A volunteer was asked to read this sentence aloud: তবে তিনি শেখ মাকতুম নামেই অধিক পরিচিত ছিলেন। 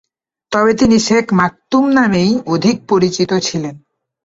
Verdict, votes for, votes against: accepted, 4, 0